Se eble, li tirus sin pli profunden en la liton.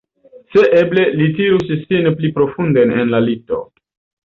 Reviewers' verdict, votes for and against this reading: rejected, 0, 2